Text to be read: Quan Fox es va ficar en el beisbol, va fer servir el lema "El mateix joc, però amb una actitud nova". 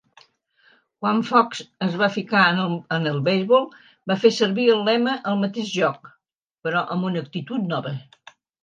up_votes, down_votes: 2, 0